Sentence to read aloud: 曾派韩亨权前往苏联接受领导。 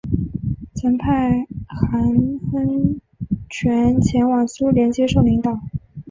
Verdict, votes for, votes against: accepted, 3, 0